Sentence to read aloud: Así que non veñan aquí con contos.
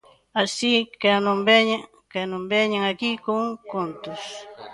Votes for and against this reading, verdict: 0, 2, rejected